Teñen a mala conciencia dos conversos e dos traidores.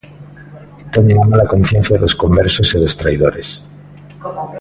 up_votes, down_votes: 1, 2